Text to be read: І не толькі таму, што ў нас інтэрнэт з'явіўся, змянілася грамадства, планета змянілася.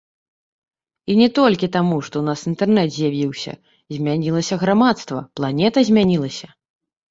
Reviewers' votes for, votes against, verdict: 1, 2, rejected